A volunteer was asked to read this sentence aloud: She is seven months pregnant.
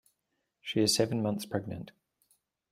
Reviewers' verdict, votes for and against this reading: accepted, 2, 0